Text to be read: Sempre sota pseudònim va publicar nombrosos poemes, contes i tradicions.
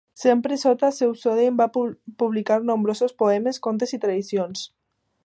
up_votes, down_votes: 0, 2